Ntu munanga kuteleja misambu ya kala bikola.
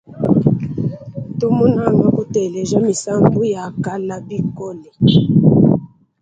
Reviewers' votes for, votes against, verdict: 2, 0, accepted